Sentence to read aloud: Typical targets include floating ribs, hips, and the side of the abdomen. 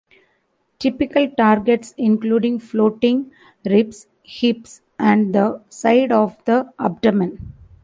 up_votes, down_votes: 0, 2